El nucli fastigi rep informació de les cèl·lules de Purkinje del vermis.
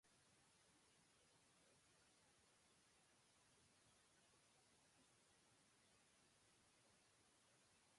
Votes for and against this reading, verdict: 1, 2, rejected